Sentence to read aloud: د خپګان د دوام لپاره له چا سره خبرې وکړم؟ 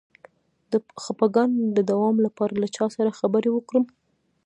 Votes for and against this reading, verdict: 0, 2, rejected